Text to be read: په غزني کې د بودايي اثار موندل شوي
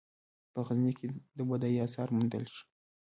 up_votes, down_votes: 2, 1